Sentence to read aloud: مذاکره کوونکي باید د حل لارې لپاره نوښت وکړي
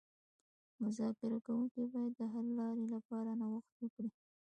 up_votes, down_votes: 1, 2